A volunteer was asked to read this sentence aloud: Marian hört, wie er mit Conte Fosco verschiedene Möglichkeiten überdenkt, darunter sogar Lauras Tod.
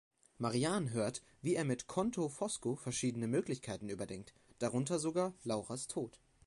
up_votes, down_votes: 0, 2